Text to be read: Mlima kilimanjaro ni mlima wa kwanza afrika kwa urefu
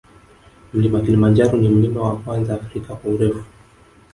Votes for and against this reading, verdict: 2, 0, accepted